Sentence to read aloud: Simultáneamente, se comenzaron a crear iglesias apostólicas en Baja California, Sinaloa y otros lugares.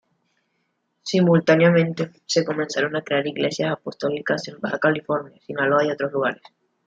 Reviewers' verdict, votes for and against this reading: rejected, 1, 2